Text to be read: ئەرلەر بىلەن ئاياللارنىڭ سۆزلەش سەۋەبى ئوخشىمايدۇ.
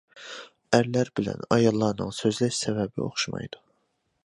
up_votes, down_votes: 2, 0